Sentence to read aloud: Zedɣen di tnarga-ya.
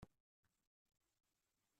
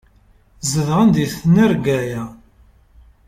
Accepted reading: second